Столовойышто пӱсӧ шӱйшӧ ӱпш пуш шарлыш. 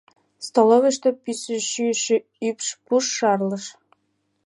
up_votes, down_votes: 1, 2